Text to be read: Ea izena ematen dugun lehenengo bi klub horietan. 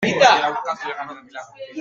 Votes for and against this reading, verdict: 0, 2, rejected